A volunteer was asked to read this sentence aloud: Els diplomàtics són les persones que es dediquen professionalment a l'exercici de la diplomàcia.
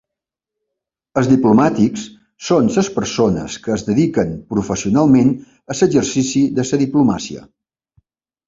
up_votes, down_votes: 1, 2